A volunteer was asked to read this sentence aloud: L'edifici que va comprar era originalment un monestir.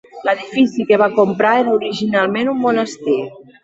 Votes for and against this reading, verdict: 2, 0, accepted